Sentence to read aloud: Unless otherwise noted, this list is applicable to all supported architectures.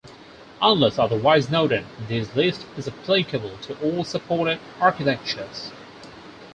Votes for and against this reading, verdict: 4, 0, accepted